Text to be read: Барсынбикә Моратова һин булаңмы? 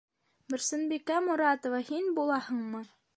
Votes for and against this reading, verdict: 0, 2, rejected